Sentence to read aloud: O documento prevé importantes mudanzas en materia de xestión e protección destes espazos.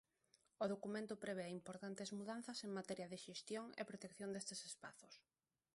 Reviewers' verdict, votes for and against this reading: rejected, 1, 2